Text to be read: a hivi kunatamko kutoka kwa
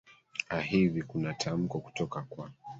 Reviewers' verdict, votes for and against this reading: accepted, 3, 2